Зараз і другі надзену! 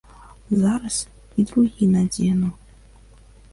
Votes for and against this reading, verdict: 2, 0, accepted